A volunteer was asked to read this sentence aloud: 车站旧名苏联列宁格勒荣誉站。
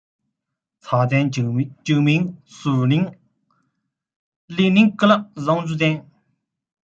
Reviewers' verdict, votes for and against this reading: rejected, 1, 2